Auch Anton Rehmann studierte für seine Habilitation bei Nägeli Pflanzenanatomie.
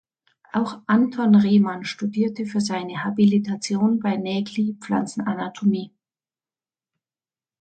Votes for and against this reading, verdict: 2, 0, accepted